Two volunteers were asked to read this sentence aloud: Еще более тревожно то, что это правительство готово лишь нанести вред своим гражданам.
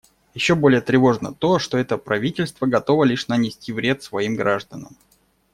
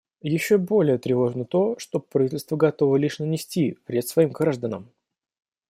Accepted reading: first